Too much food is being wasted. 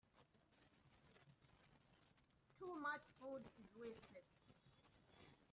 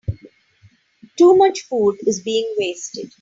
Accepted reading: second